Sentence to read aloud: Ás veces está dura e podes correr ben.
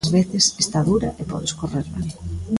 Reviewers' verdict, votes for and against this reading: rejected, 1, 2